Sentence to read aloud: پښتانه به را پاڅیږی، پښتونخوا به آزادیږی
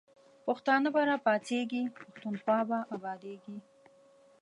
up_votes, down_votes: 1, 2